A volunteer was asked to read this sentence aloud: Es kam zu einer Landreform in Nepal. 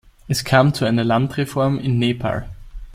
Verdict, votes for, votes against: rejected, 1, 2